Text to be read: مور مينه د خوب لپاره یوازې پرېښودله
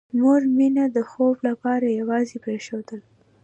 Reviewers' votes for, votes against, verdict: 2, 0, accepted